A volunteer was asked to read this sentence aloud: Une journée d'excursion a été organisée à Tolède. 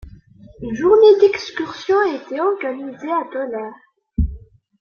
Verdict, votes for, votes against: rejected, 0, 2